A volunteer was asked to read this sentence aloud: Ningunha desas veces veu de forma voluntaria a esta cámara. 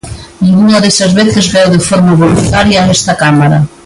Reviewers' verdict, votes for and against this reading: rejected, 0, 2